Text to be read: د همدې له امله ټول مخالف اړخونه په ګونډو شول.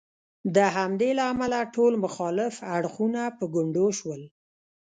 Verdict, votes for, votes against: rejected, 0, 2